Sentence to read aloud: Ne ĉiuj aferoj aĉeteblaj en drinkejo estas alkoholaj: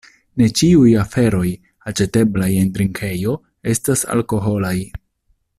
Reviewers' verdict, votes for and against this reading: accepted, 2, 0